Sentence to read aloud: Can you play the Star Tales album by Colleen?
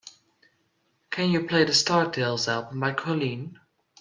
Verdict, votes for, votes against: accepted, 2, 0